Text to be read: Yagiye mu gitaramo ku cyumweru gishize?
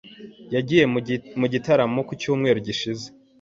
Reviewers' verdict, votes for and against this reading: rejected, 1, 2